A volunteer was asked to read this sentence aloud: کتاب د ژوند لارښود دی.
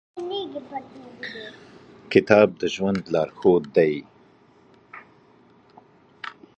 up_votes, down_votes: 2, 0